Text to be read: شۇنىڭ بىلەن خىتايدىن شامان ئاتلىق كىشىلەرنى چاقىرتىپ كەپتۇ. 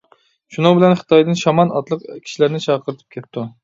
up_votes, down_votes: 2, 1